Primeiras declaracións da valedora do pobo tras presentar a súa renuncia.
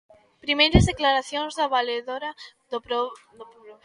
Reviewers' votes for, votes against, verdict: 0, 2, rejected